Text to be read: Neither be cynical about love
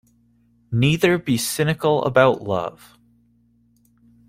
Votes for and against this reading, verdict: 2, 0, accepted